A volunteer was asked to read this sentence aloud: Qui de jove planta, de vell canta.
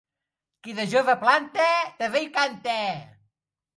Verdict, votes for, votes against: rejected, 0, 2